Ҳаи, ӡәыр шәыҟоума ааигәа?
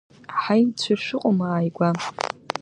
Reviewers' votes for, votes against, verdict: 0, 2, rejected